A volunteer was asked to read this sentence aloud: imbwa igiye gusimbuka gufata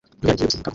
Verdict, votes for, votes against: rejected, 0, 2